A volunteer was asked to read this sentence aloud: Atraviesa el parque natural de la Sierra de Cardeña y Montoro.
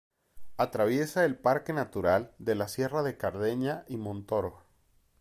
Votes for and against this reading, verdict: 2, 0, accepted